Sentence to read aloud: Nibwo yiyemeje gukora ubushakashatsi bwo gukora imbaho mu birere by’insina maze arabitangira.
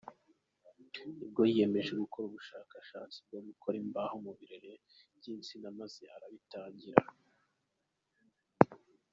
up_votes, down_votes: 2, 1